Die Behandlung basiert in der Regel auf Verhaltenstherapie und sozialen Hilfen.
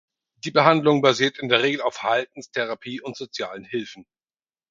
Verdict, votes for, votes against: rejected, 2, 4